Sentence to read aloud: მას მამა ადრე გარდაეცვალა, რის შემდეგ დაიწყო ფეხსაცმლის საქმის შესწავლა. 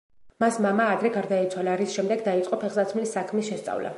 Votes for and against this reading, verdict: 3, 0, accepted